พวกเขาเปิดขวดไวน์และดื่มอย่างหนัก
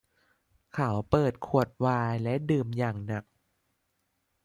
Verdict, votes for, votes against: rejected, 0, 2